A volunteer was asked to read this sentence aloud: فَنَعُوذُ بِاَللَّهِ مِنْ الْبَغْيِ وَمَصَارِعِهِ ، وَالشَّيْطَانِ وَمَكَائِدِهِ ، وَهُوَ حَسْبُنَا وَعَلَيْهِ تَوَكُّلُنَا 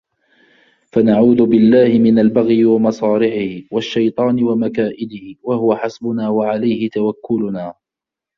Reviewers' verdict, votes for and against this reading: accepted, 2, 0